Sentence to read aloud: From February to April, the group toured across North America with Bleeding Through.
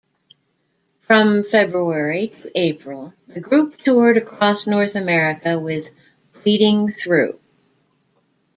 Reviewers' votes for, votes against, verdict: 2, 0, accepted